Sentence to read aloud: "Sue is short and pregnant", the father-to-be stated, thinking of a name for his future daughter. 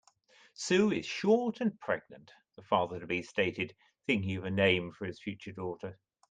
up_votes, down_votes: 2, 0